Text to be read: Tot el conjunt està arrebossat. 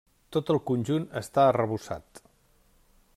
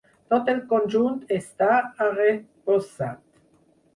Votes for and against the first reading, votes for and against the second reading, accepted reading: 3, 0, 2, 4, first